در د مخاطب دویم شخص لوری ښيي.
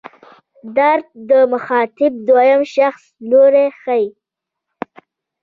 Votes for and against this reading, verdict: 2, 0, accepted